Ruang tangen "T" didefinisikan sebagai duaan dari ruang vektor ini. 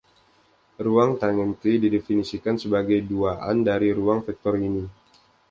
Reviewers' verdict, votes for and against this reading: accepted, 2, 0